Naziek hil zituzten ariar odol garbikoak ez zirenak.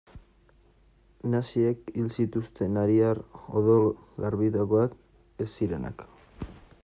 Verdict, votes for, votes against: rejected, 1, 2